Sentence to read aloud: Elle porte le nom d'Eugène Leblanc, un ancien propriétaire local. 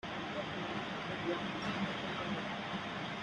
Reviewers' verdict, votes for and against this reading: rejected, 0, 2